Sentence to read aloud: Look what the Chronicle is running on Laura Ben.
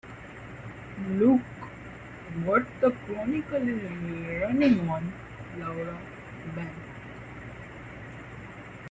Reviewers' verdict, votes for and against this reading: rejected, 0, 2